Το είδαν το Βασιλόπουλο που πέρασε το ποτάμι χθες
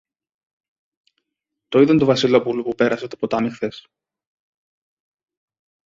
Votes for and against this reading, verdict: 0, 2, rejected